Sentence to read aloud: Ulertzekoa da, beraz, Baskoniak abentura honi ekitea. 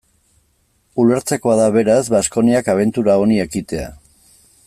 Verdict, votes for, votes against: accepted, 2, 0